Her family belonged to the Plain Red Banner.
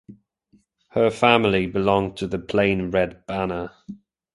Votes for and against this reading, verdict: 2, 0, accepted